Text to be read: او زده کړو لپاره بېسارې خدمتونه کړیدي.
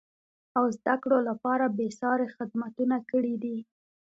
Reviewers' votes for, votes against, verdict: 2, 0, accepted